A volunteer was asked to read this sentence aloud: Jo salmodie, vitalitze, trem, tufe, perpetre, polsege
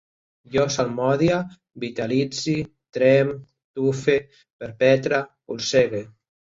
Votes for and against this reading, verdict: 1, 2, rejected